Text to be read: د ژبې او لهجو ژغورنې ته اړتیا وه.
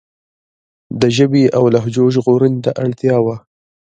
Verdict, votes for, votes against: rejected, 1, 2